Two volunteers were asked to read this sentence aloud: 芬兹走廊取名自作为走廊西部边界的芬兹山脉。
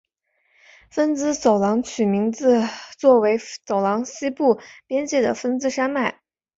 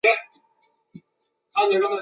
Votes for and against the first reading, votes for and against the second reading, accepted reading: 4, 0, 1, 3, first